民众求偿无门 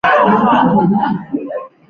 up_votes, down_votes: 0, 2